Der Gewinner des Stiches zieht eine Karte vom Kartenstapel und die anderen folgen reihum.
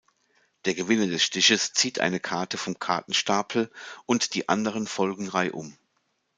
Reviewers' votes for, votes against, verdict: 2, 0, accepted